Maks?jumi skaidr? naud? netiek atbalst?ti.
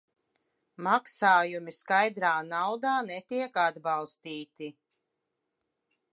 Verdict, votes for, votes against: rejected, 0, 2